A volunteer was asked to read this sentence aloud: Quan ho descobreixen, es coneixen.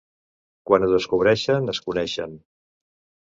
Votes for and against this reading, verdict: 2, 0, accepted